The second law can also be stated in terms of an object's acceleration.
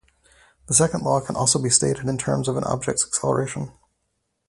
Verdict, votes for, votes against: accepted, 4, 0